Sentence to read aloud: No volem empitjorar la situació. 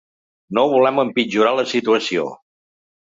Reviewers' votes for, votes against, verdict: 4, 0, accepted